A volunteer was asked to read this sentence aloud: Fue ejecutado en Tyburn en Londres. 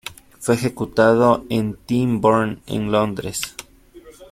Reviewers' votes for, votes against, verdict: 1, 2, rejected